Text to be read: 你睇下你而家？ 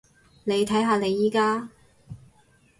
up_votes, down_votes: 0, 4